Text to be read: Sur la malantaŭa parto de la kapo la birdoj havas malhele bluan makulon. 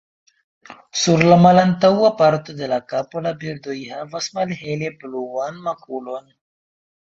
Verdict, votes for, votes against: accepted, 2, 0